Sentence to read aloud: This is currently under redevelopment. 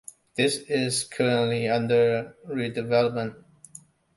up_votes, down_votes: 2, 0